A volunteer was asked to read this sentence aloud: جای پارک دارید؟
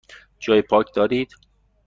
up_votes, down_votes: 2, 0